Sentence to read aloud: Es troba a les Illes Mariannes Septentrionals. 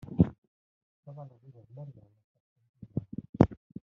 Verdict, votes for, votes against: rejected, 0, 2